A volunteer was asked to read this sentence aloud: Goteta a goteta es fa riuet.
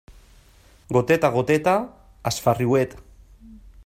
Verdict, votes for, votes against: accepted, 2, 0